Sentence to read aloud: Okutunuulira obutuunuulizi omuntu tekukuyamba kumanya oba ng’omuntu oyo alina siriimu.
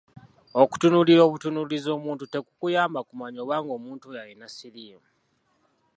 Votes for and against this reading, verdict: 2, 0, accepted